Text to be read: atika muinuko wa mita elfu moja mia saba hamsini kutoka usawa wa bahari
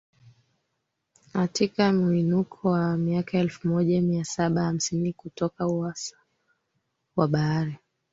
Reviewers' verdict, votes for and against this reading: accepted, 2, 1